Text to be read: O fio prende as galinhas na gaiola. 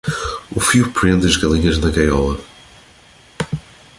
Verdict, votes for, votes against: accepted, 2, 0